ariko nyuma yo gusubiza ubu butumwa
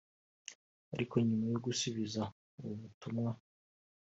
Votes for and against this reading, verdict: 2, 0, accepted